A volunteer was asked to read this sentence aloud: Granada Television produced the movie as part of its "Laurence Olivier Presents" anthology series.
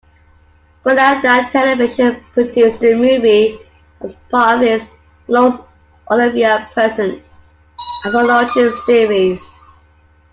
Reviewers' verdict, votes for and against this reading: accepted, 2, 1